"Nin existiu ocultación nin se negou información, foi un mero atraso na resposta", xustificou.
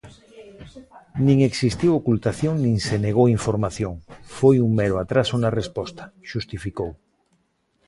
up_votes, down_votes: 2, 0